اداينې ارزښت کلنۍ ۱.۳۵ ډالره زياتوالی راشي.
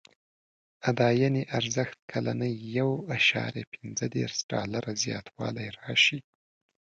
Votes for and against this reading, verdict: 0, 2, rejected